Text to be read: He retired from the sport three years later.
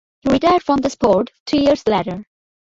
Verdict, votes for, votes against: rejected, 0, 2